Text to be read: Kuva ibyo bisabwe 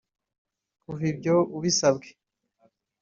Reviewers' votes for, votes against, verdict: 1, 2, rejected